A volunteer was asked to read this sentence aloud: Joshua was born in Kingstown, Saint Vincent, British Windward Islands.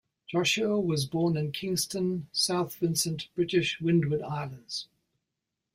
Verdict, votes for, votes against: rejected, 0, 2